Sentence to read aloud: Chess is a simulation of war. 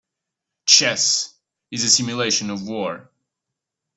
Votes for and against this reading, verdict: 3, 0, accepted